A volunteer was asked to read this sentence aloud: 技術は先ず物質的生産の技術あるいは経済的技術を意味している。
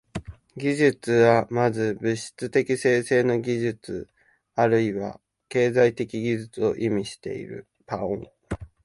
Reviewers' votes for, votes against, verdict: 0, 2, rejected